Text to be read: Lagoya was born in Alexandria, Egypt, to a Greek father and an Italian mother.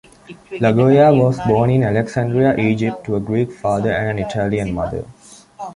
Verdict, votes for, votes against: accepted, 2, 0